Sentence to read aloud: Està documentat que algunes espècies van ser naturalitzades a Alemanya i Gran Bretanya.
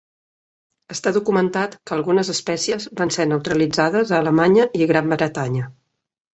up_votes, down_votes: 0, 2